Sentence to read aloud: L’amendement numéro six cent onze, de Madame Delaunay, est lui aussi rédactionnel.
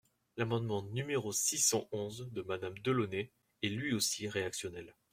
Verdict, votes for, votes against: rejected, 1, 2